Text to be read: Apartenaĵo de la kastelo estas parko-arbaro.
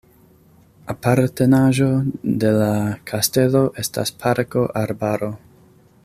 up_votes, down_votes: 2, 0